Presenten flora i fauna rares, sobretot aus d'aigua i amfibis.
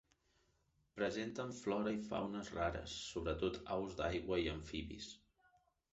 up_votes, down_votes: 2, 0